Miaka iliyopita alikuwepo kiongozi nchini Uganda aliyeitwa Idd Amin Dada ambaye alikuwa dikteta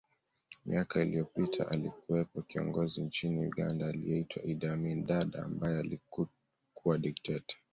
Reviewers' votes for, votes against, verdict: 1, 2, rejected